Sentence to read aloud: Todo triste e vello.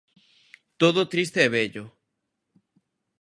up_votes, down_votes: 2, 0